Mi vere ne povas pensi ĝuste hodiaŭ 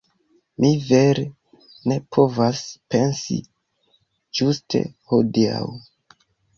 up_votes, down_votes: 2, 1